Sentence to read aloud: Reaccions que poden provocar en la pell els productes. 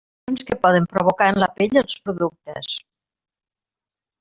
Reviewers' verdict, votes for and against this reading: rejected, 0, 2